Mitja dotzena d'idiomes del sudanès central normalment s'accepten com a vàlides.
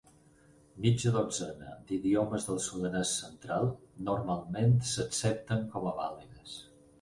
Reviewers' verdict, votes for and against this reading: accepted, 4, 0